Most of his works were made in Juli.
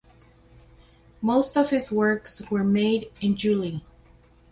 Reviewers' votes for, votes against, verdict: 0, 2, rejected